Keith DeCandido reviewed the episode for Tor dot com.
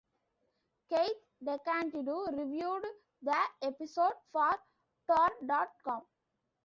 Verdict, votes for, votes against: accepted, 2, 0